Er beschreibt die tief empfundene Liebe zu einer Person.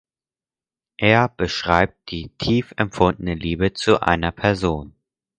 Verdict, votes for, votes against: accepted, 4, 0